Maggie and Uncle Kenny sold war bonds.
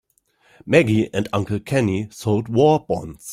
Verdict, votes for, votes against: accepted, 3, 0